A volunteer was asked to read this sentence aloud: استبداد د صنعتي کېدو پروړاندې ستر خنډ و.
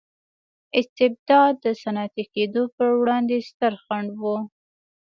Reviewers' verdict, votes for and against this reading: accepted, 2, 0